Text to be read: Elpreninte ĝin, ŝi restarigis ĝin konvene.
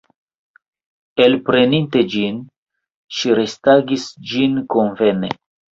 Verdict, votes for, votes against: rejected, 1, 2